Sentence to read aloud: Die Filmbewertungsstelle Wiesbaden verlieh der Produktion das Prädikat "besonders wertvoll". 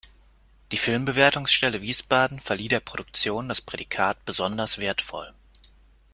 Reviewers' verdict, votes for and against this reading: accepted, 2, 0